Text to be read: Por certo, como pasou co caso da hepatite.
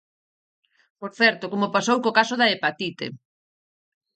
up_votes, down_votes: 4, 0